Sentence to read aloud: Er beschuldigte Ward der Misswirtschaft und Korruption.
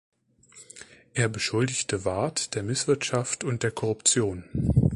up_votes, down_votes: 0, 2